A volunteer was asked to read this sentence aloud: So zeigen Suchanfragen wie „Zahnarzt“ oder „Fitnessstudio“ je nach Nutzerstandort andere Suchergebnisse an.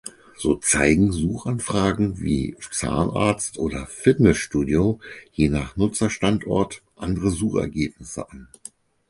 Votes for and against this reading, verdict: 2, 4, rejected